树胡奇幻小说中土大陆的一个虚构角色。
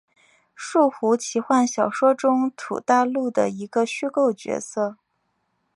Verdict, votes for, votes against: accepted, 2, 0